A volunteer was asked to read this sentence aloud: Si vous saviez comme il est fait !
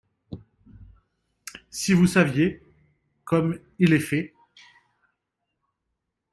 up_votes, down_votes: 2, 0